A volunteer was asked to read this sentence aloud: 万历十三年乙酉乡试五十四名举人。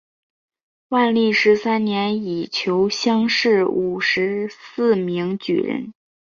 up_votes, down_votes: 3, 2